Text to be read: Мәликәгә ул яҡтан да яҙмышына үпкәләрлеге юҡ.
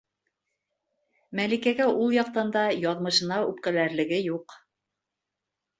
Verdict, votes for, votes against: accepted, 2, 0